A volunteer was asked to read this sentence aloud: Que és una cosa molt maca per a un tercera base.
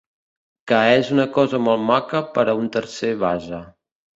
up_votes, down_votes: 0, 3